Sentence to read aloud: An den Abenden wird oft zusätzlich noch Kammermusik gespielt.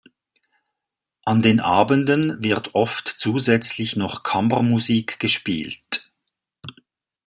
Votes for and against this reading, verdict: 2, 0, accepted